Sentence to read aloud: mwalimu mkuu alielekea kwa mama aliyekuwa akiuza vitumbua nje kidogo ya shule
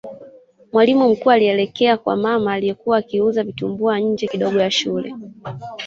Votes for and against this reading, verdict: 2, 1, accepted